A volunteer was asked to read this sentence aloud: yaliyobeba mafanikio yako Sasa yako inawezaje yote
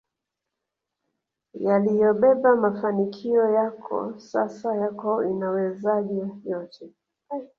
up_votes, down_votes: 1, 2